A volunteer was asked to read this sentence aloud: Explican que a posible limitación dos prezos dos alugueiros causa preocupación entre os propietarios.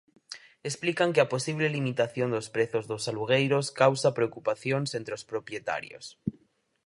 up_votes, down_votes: 0, 4